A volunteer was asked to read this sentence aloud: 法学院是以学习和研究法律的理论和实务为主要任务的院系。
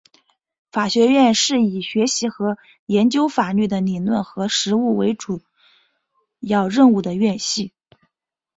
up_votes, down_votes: 3, 3